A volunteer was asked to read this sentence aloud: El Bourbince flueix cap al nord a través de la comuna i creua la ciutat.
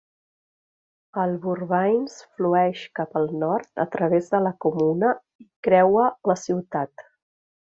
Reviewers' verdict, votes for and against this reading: rejected, 1, 2